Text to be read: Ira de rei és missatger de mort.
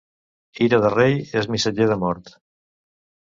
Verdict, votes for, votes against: accepted, 2, 0